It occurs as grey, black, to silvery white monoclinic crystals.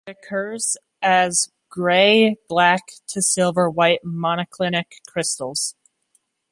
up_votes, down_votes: 2, 0